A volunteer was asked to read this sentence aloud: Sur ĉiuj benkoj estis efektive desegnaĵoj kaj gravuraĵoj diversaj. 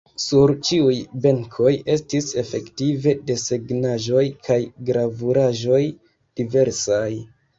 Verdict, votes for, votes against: rejected, 1, 2